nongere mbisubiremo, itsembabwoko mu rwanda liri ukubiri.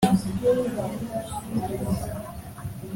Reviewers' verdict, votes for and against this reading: rejected, 0, 3